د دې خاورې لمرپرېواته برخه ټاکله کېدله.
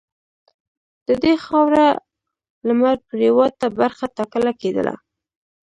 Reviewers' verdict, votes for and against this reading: accepted, 2, 0